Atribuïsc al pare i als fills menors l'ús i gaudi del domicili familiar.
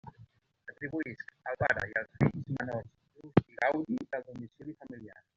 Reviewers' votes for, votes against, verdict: 0, 2, rejected